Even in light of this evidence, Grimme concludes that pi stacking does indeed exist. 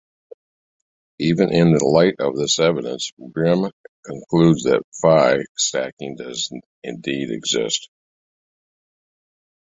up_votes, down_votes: 2, 0